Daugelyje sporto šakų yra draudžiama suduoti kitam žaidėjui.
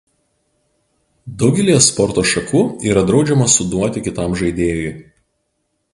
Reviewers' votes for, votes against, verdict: 2, 0, accepted